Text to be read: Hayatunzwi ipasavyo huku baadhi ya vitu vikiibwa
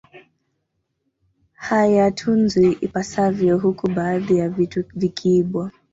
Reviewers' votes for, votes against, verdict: 2, 1, accepted